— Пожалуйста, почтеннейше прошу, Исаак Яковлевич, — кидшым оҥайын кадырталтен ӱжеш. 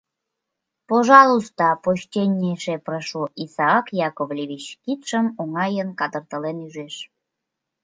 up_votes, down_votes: 2, 1